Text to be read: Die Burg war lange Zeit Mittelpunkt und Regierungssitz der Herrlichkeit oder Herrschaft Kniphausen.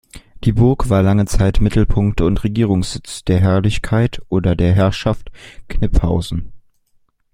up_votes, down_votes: 1, 2